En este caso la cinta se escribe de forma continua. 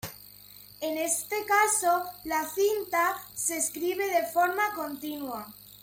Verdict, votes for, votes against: accepted, 2, 1